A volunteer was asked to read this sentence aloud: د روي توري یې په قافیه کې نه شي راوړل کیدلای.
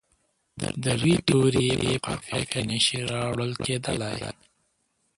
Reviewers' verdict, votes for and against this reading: rejected, 1, 2